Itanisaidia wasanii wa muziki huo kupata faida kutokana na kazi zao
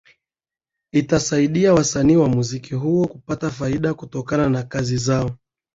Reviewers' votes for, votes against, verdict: 2, 1, accepted